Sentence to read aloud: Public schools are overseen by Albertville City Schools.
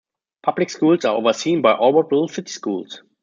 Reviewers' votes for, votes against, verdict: 0, 2, rejected